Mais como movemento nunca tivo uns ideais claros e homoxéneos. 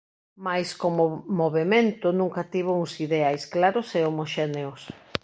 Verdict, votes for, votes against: rejected, 1, 2